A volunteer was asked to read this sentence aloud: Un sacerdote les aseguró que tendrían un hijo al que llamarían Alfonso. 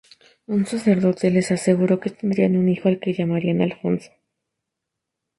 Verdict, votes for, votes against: accepted, 2, 0